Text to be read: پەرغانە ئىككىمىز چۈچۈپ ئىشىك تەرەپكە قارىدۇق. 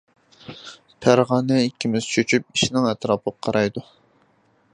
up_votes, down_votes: 0, 2